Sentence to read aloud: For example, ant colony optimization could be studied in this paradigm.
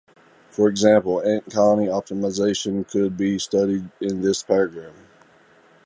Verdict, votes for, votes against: rejected, 1, 2